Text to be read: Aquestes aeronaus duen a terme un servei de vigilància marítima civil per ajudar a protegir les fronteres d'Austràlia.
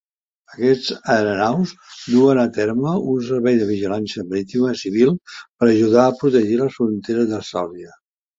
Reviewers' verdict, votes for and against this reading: rejected, 0, 2